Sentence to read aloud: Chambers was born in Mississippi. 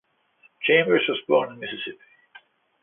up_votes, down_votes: 2, 0